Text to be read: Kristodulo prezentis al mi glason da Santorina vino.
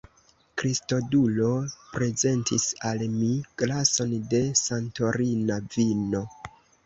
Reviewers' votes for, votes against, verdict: 1, 2, rejected